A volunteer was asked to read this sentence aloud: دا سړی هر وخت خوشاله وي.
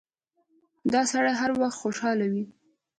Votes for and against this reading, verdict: 3, 0, accepted